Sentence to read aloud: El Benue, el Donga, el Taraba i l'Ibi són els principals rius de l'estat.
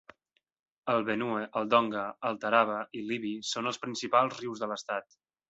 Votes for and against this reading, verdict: 3, 0, accepted